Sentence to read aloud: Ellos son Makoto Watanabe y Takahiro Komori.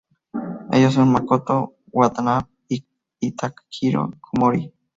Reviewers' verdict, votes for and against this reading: rejected, 2, 2